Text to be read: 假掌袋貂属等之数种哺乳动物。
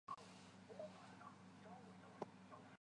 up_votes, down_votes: 1, 2